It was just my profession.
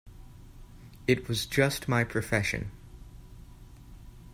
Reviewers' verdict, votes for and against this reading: accepted, 2, 0